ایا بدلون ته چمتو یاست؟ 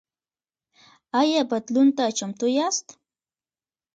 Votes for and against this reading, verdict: 2, 1, accepted